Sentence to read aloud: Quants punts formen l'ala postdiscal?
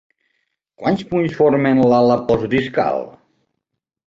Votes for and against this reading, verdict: 4, 2, accepted